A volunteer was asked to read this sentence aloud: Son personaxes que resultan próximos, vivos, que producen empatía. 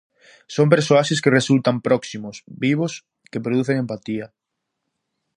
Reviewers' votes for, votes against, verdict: 0, 2, rejected